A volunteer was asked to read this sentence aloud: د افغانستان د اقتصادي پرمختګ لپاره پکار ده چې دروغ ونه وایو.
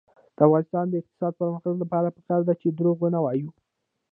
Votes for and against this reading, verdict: 0, 2, rejected